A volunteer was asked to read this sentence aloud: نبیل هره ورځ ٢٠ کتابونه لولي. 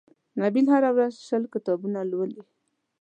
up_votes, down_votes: 0, 2